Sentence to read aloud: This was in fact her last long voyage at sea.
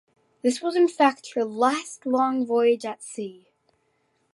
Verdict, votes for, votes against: accepted, 2, 0